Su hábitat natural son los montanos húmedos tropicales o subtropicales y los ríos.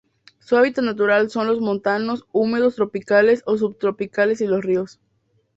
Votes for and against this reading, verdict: 4, 0, accepted